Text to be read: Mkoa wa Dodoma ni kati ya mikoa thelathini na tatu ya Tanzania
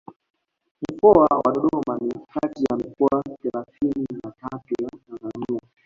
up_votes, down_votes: 2, 0